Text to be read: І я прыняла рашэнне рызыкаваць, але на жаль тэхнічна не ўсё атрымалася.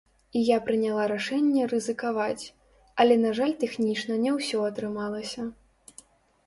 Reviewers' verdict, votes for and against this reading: rejected, 0, 2